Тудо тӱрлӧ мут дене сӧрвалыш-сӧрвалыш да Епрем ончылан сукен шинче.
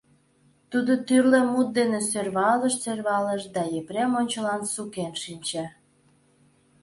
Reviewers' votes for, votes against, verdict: 2, 0, accepted